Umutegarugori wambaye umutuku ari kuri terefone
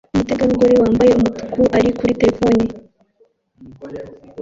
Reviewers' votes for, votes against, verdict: 1, 2, rejected